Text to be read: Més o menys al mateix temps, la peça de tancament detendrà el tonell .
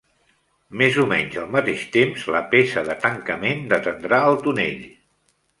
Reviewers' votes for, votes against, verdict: 2, 0, accepted